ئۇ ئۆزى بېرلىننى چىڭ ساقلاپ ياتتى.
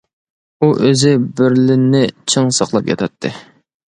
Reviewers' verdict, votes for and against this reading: rejected, 0, 2